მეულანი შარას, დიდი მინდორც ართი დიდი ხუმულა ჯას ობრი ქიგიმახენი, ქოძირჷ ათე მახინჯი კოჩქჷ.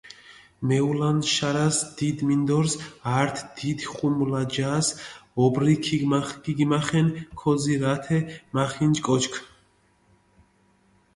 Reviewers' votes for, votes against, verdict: 0, 2, rejected